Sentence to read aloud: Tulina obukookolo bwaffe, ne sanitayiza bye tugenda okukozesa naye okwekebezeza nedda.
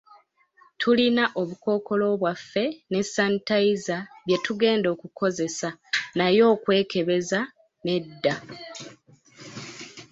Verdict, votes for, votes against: accepted, 2, 0